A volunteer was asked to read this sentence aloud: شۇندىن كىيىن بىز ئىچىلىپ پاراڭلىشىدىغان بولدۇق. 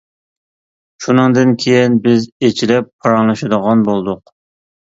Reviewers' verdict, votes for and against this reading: rejected, 1, 2